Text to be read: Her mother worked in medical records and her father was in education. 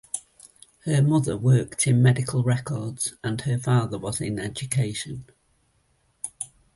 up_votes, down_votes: 2, 0